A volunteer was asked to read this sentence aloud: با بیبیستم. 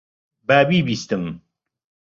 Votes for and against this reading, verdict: 2, 0, accepted